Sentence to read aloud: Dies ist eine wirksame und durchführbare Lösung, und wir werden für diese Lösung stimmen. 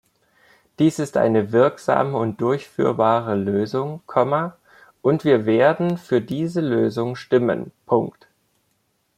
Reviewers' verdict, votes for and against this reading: rejected, 0, 2